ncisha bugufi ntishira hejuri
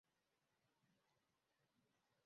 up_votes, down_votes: 0, 2